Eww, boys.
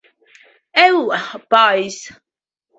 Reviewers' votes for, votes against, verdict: 2, 0, accepted